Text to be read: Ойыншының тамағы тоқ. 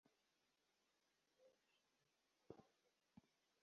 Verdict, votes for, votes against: rejected, 0, 2